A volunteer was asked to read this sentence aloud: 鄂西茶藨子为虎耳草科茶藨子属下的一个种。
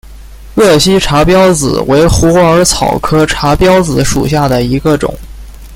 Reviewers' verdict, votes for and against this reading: rejected, 0, 2